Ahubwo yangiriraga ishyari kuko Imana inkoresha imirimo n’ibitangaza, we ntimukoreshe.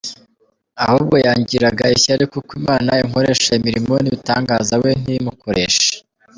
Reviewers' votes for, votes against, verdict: 2, 0, accepted